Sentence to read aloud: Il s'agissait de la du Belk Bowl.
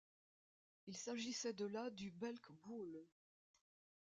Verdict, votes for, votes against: accepted, 2, 0